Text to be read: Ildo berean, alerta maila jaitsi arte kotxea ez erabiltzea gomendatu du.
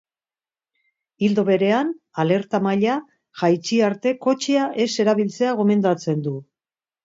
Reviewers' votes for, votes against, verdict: 1, 2, rejected